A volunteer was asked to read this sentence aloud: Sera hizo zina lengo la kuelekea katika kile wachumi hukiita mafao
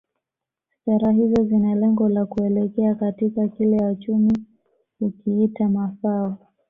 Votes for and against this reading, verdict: 1, 2, rejected